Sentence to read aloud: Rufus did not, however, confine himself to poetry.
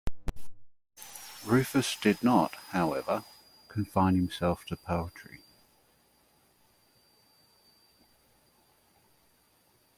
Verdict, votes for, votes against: accepted, 2, 1